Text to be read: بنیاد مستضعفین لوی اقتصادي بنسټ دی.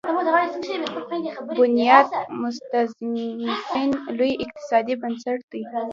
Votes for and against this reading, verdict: 1, 2, rejected